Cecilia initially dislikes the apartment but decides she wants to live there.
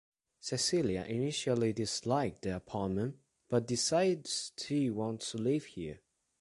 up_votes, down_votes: 0, 2